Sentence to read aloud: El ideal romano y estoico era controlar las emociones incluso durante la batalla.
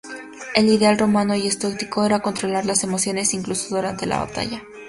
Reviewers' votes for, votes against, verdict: 0, 2, rejected